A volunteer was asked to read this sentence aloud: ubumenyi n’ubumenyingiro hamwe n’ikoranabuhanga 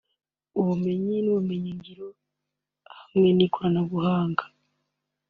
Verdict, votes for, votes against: accepted, 3, 0